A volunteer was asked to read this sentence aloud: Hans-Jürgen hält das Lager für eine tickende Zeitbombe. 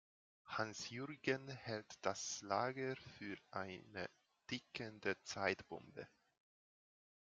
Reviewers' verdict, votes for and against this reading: rejected, 1, 2